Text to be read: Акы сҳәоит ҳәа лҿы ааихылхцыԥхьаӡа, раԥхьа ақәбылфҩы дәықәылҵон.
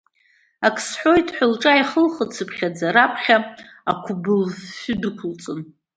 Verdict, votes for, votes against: accepted, 2, 0